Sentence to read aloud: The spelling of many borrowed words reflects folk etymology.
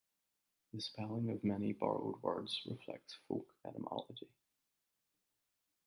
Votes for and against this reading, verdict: 2, 0, accepted